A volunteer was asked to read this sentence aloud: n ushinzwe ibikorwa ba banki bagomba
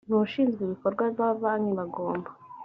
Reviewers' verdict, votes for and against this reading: accepted, 2, 0